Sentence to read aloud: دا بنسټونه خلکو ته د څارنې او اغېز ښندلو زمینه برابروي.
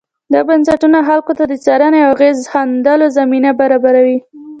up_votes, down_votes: 2, 0